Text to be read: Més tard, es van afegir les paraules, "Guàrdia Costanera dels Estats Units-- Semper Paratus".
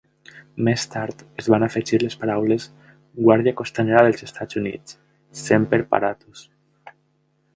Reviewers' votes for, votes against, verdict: 2, 0, accepted